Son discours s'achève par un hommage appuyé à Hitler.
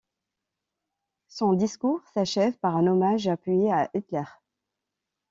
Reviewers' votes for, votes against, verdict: 2, 0, accepted